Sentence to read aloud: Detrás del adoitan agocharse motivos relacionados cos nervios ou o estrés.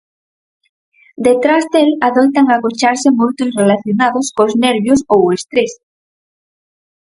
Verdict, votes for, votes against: rejected, 0, 4